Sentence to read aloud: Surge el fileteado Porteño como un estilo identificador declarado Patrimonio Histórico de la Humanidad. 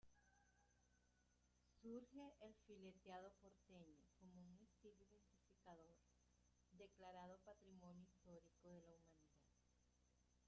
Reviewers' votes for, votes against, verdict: 0, 2, rejected